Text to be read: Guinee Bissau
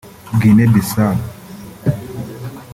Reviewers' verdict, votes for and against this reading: rejected, 2, 3